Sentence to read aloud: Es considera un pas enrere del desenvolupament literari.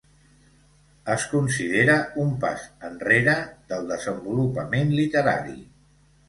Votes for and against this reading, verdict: 2, 0, accepted